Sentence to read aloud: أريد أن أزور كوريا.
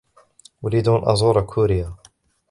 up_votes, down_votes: 2, 0